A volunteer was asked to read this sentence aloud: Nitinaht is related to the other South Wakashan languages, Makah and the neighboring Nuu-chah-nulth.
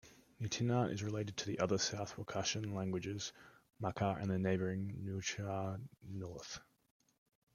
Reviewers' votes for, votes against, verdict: 1, 2, rejected